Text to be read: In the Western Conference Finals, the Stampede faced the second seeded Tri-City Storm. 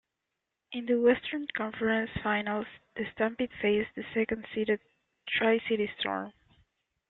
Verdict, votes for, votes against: accepted, 2, 0